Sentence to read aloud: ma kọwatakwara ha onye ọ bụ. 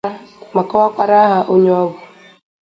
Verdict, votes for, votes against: accepted, 2, 0